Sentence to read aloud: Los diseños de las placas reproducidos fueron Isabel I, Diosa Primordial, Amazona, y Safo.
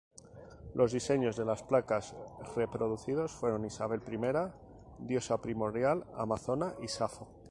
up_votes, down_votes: 2, 2